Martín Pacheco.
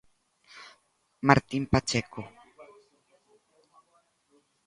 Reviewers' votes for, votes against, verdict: 1, 2, rejected